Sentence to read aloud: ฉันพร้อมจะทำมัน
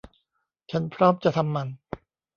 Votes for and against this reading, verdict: 1, 2, rejected